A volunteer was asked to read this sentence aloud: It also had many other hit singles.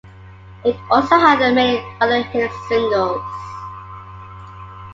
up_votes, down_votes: 2, 1